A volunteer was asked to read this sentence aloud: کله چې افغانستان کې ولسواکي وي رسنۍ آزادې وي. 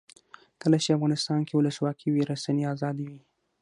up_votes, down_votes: 6, 0